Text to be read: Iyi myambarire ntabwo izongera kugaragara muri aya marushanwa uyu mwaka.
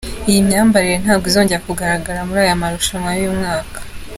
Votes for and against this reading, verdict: 2, 0, accepted